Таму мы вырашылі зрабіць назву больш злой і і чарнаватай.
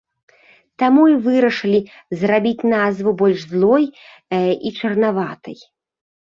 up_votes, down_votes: 1, 2